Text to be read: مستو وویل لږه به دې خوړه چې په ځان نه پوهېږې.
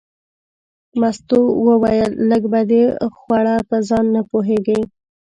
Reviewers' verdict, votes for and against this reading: accepted, 2, 0